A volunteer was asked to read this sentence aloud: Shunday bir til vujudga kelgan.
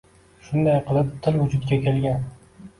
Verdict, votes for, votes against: rejected, 0, 2